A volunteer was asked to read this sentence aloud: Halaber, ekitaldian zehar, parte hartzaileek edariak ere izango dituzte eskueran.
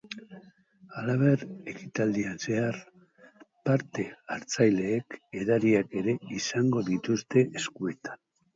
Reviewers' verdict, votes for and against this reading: rejected, 2, 2